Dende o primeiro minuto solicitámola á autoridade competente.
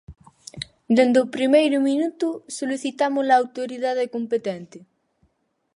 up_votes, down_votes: 0, 4